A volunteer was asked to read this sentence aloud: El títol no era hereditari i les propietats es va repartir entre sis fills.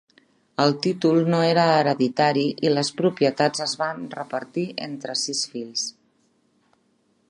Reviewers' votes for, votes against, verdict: 0, 2, rejected